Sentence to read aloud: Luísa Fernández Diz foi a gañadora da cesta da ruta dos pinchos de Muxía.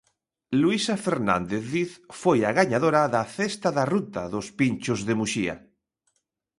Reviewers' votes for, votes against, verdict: 2, 0, accepted